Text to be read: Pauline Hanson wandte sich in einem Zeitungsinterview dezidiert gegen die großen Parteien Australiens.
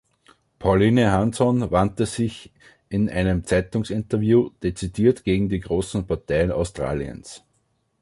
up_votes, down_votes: 3, 0